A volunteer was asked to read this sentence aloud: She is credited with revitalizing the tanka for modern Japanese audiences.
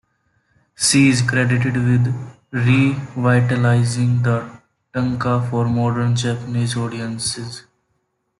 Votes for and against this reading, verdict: 2, 1, accepted